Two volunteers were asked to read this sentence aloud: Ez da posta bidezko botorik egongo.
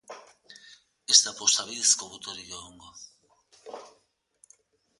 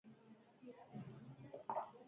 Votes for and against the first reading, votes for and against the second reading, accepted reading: 4, 0, 0, 4, first